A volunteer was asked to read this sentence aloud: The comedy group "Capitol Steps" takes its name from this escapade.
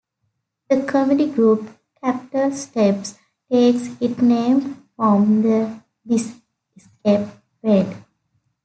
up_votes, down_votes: 0, 2